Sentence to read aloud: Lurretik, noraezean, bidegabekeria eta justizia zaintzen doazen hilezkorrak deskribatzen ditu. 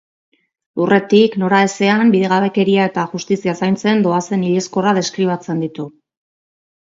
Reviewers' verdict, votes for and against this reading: accepted, 2, 0